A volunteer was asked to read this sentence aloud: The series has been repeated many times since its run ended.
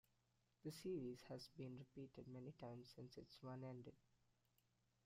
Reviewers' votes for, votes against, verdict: 0, 2, rejected